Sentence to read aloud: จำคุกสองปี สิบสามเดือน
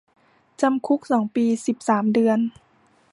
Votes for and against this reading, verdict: 1, 2, rejected